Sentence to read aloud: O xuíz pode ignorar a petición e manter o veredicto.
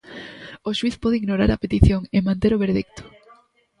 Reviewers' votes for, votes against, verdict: 1, 2, rejected